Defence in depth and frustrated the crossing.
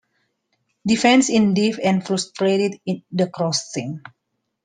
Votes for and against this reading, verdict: 0, 2, rejected